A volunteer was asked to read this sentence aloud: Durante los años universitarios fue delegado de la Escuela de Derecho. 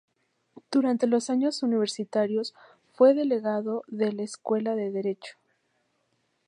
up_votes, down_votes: 4, 0